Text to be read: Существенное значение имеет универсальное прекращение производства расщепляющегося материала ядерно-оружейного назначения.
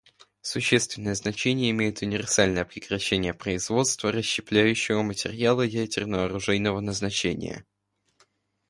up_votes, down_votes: 0, 2